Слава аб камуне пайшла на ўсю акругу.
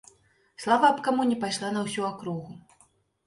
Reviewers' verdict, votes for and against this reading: accepted, 3, 0